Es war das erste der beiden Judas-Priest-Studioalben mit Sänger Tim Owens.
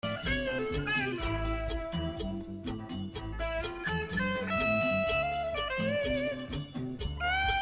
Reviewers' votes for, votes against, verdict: 0, 2, rejected